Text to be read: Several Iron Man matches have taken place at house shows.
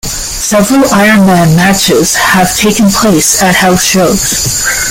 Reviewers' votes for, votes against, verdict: 2, 1, accepted